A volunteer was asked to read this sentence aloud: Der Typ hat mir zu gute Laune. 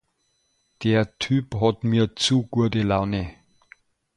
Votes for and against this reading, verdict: 0, 2, rejected